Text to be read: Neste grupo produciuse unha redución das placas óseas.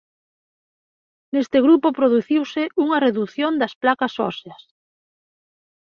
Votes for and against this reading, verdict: 2, 0, accepted